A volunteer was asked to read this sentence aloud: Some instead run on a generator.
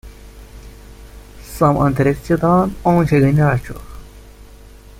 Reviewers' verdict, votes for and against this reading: rejected, 0, 2